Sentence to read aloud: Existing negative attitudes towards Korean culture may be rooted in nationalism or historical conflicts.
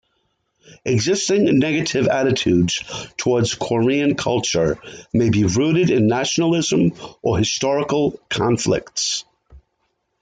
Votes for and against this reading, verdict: 2, 0, accepted